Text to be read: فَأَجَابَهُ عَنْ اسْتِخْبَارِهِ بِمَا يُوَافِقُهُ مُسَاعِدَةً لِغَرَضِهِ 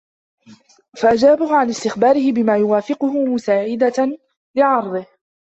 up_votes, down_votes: 1, 3